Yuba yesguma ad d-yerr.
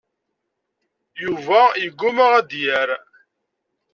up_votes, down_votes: 0, 2